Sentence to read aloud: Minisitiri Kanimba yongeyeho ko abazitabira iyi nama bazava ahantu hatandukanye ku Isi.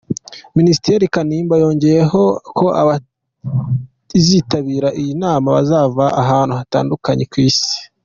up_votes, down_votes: 1, 2